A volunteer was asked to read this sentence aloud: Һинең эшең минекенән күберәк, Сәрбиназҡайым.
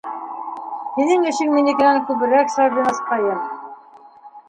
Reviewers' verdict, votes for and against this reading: rejected, 1, 2